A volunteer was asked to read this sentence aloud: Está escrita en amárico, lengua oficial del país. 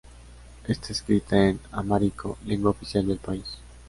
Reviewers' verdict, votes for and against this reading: accepted, 2, 0